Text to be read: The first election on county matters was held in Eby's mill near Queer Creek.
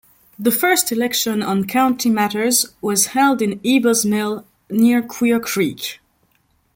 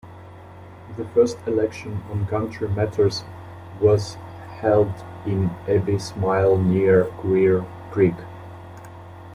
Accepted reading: first